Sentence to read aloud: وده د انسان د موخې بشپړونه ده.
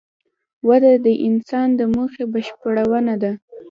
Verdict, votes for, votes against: accepted, 2, 0